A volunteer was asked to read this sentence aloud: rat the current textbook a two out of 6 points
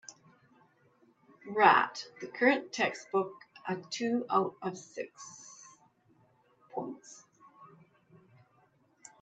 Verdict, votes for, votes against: rejected, 0, 2